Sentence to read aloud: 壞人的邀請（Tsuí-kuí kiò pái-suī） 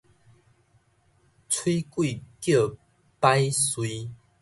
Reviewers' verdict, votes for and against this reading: rejected, 1, 2